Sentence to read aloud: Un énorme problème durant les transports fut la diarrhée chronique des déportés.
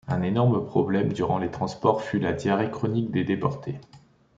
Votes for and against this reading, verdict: 2, 0, accepted